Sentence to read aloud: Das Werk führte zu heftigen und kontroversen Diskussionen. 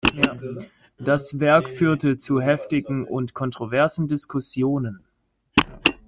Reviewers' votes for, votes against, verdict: 2, 1, accepted